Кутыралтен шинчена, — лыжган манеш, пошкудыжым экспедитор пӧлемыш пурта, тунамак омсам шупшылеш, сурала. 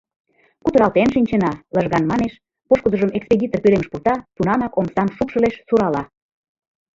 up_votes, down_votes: 1, 2